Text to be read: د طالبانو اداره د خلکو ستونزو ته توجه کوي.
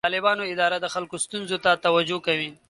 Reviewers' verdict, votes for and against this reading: accepted, 2, 0